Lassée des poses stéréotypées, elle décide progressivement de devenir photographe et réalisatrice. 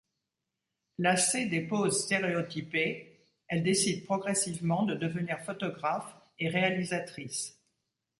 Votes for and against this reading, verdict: 2, 0, accepted